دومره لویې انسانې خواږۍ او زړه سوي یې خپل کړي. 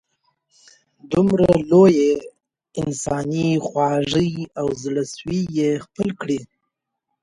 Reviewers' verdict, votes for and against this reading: accepted, 2, 1